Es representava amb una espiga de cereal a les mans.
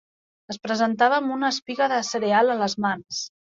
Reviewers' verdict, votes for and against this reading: rejected, 1, 2